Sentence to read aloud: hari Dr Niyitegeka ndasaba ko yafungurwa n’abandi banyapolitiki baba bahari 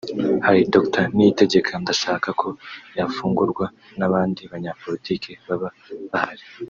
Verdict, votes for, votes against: rejected, 1, 2